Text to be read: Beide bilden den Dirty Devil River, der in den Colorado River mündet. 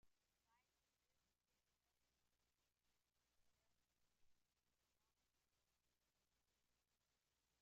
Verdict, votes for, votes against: rejected, 0, 2